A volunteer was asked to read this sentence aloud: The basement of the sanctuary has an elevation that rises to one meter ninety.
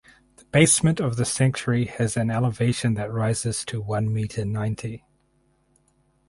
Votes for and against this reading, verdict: 4, 0, accepted